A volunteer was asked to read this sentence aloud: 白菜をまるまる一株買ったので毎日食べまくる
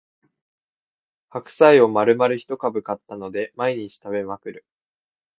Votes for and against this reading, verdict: 2, 0, accepted